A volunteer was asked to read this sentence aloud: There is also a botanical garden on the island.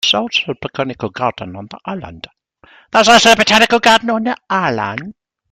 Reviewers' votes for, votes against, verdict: 0, 2, rejected